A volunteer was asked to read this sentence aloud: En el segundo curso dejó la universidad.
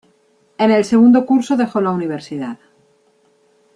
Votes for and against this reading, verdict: 2, 0, accepted